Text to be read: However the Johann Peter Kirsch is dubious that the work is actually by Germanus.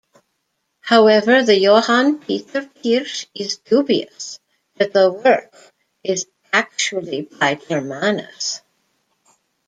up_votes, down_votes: 2, 0